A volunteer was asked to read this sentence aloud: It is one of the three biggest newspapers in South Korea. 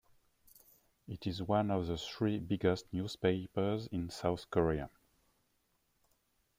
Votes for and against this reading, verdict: 2, 1, accepted